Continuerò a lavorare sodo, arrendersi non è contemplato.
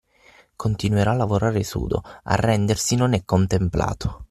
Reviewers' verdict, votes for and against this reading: rejected, 3, 6